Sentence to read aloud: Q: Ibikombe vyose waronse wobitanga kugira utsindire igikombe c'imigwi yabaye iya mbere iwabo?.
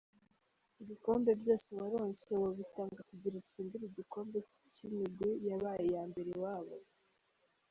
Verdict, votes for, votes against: rejected, 1, 2